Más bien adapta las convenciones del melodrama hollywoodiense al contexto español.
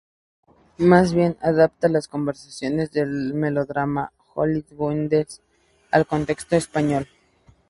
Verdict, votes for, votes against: rejected, 0, 2